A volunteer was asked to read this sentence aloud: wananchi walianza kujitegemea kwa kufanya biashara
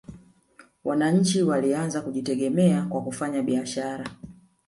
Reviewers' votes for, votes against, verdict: 0, 2, rejected